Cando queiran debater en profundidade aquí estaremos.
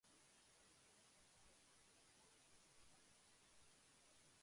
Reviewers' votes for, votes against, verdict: 0, 2, rejected